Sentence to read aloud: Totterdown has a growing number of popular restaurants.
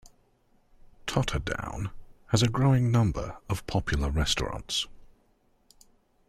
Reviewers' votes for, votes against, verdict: 2, 0, accepted